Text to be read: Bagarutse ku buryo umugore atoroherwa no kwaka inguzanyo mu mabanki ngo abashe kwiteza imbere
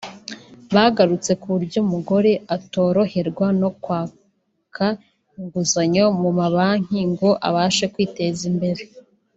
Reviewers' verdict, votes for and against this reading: rejected, 0, 2